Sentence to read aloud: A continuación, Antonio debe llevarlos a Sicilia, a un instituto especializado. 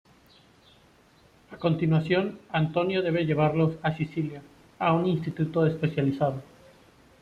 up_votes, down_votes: 2, 0